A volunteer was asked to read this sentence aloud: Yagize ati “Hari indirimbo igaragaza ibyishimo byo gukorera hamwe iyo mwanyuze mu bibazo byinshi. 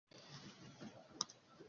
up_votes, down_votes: 0, 2